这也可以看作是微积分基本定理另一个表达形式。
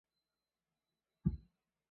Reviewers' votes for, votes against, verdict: 0, 2, rejected